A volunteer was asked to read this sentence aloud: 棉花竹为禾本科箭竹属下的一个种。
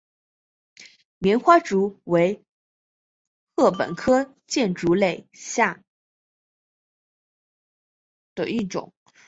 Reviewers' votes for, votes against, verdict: 2, 3, rejected